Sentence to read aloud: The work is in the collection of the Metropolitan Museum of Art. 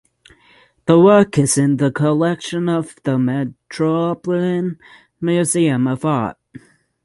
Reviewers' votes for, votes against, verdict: 0, 6, rejected